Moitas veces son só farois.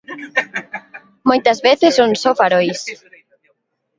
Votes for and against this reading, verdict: 1, 2, rejected